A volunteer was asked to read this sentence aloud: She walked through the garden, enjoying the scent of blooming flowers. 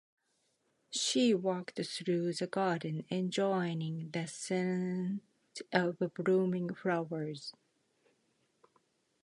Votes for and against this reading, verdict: 1, 2, rejected